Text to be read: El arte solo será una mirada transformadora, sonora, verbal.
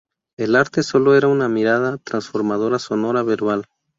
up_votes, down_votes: 0, 2